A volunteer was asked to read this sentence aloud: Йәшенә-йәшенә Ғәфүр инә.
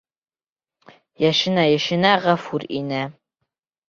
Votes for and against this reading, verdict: 2, 0, accepted